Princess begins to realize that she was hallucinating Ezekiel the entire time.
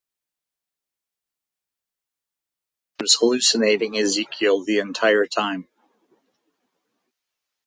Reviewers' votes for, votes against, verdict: 0, 4, rejected